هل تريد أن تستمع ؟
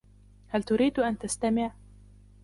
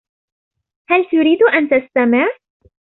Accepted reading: second